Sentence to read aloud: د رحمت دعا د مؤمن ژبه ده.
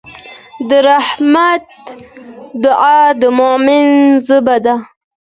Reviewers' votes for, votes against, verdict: 2, 0, accepted